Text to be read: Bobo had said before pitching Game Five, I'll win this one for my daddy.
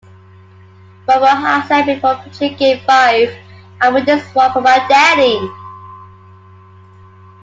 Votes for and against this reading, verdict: 2, 1, accepted